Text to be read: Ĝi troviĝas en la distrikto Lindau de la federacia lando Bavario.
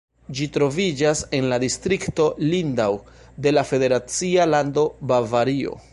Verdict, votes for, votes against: accepted, 2, 1